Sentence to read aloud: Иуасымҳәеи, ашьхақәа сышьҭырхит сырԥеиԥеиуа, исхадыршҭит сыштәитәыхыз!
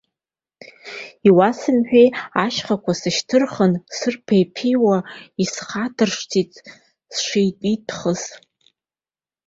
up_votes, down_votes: 1, 2